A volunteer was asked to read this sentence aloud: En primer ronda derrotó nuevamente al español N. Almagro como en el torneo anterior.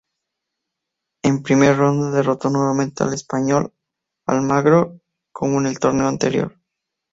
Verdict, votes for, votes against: rejected, 0, 2